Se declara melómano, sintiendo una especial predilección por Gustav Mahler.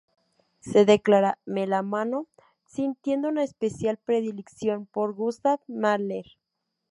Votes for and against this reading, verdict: 0, 2, rejected